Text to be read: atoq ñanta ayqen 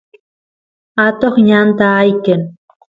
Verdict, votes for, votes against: accepted, 2, 0